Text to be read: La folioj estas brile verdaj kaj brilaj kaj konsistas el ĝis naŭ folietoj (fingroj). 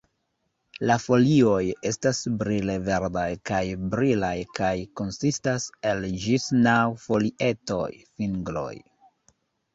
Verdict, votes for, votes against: accepted, 2, 0